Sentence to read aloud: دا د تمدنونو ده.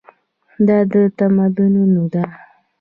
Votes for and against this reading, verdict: 2, 0, accepted